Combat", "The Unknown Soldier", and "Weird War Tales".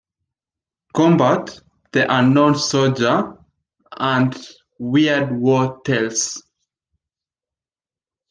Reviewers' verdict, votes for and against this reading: accepted, 2, 0